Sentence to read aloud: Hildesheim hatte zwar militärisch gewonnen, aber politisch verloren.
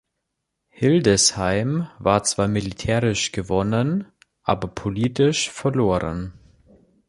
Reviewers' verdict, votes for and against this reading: rejected, 0, 2